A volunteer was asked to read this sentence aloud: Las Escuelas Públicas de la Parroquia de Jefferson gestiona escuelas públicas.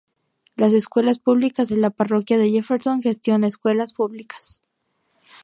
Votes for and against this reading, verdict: 6, 0, accepted